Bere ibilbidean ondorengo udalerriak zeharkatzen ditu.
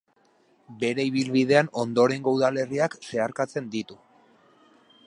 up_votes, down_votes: 4, 0